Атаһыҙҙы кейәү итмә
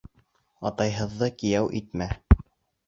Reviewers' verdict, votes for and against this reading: rejected, 1, 2